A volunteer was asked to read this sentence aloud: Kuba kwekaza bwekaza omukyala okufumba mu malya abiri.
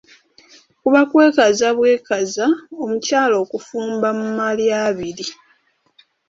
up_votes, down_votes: 2, 0